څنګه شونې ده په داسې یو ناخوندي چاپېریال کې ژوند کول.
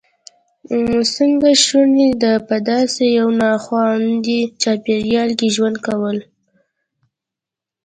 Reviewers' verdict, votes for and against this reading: accepted, 2, 0